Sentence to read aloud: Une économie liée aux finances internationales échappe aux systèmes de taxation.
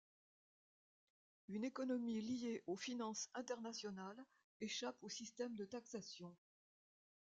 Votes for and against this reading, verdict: 2, 1, accepted